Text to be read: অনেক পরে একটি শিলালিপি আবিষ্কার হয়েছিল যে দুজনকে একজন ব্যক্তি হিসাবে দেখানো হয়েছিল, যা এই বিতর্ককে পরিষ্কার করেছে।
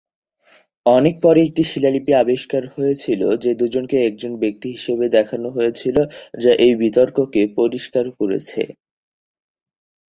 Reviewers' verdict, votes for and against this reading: accepted, 18, 2